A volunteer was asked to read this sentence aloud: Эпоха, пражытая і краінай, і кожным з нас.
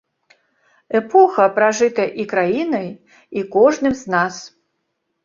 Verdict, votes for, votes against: rejected, 1, 2